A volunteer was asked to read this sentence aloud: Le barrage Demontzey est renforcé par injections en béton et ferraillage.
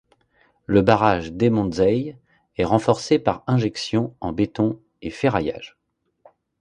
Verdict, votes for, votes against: accepted, 2, 0